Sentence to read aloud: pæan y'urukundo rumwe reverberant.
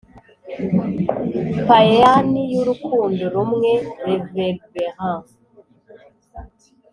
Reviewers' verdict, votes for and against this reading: accepted, 4, 0